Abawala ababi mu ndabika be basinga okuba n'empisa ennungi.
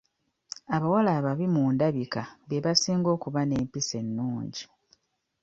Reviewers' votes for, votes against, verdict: 2, 0, accepted